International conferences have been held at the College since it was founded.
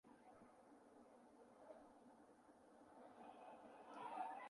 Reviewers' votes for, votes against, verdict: 0, 2, rejected